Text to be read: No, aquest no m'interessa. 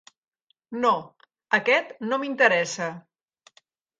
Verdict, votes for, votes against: accepted, 3, 0